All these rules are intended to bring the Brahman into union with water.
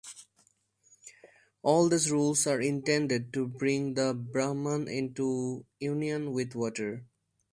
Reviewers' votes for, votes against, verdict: 2, 0, accepted